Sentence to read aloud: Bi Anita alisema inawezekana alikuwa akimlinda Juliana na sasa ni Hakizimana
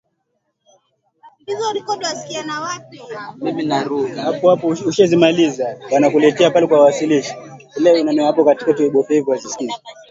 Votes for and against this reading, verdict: 0, 4, rejected